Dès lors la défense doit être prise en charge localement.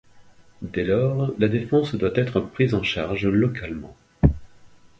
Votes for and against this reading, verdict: 2, 0, accepted